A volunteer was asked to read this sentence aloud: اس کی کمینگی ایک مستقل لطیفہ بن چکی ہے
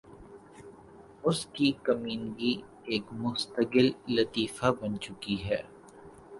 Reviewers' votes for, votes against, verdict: 7, 0, accepted